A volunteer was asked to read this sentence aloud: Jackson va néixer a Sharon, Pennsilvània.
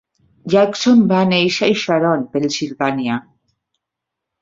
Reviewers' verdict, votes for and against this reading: accepted, 2, 1